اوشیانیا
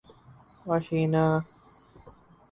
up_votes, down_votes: 2, 4